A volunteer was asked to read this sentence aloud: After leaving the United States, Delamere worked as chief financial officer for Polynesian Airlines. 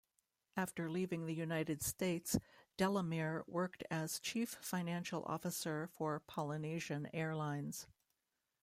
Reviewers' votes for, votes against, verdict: 1, 2, rejected